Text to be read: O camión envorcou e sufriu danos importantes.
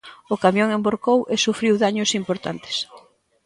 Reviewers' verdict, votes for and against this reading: rejected, 0, 4